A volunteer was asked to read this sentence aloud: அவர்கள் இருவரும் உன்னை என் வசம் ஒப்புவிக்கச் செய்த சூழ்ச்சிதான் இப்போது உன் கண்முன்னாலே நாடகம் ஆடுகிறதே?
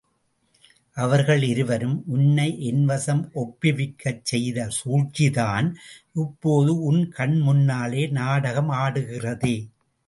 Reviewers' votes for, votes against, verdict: 2, 0, accepted